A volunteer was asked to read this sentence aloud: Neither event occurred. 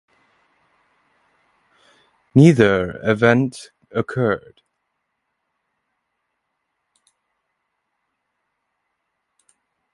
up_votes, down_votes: 2, 0